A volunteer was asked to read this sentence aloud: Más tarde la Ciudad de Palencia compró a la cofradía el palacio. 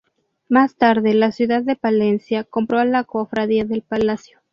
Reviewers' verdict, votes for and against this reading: rejected, 2, 2